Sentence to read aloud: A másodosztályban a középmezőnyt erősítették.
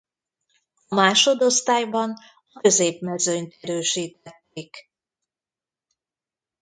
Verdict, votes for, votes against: rejected, 0, 2